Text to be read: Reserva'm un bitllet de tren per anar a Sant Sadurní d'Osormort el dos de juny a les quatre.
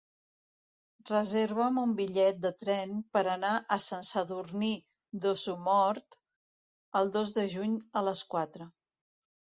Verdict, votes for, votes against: rejected, 1, 2